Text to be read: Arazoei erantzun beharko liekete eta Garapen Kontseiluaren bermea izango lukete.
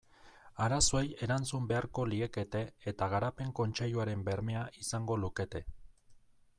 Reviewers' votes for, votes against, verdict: 2, 0, accepted